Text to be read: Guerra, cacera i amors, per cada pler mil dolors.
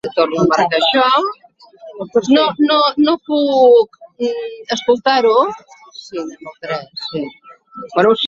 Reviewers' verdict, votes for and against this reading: rejected, 0, 2